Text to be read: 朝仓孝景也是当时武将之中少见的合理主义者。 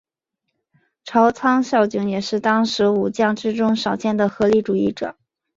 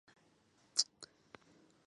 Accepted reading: first